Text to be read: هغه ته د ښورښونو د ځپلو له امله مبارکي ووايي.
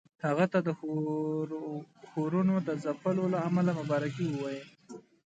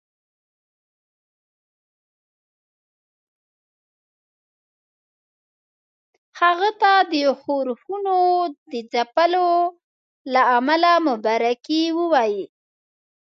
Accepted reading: first